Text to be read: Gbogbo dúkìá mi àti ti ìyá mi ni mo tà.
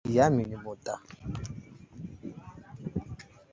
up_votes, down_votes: 0, 2